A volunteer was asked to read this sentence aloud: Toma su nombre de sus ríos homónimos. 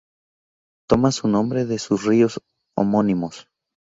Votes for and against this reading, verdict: 0, 2, rejected